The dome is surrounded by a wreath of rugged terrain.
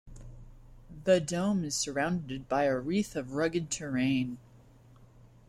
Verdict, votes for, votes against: accepted, 2, 0